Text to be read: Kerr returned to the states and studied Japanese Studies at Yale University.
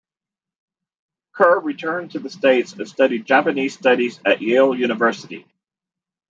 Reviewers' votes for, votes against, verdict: 1, 2, rejected